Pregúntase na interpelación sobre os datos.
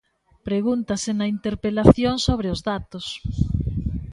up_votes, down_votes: 2, 0